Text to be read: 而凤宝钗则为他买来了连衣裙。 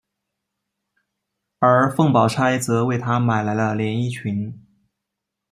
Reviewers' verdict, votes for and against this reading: accepted, 2, 0